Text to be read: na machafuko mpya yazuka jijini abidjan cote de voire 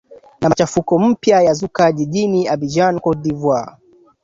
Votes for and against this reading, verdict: 2, 1, accepted